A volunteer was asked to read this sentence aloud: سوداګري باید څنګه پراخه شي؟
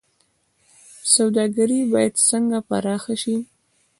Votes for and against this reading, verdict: 2, 0, accepted